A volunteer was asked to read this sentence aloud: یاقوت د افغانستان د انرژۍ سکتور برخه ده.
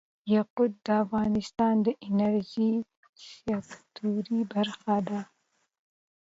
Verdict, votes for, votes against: accepted, 2, 0